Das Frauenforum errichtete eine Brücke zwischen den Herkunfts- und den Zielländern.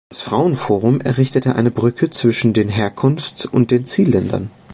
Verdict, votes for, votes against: rejected, 1, 2